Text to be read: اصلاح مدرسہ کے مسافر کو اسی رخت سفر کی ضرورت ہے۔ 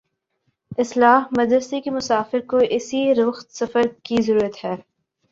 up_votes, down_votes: 2, 0